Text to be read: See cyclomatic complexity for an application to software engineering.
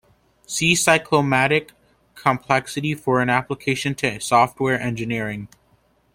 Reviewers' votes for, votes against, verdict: 2, 1, accepted